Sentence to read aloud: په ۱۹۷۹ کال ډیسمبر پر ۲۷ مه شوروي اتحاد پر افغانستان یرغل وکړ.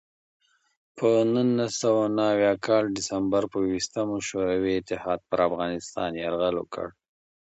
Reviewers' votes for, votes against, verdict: 0, 2, rejected